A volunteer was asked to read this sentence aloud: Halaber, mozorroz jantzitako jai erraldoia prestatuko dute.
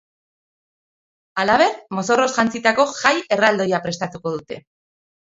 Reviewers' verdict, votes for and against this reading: accepted, 3, 0